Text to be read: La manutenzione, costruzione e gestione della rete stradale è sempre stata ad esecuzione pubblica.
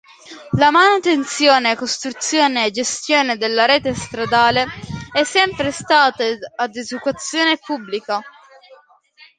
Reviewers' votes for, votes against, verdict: 2, 1, accepted